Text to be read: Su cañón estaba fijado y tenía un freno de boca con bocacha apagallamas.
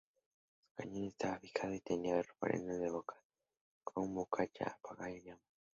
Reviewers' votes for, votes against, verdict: 0, 2, rejected